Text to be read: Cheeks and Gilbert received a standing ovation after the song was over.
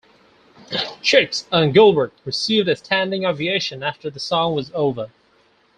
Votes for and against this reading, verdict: 2, 4, rejected